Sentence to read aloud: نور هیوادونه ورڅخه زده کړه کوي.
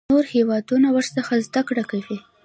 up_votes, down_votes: 2, 0